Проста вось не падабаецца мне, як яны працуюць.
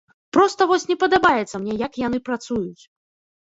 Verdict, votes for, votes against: accepted, 2, 0